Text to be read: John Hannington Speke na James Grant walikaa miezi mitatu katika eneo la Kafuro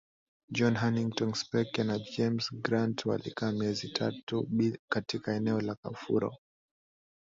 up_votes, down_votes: 0, 2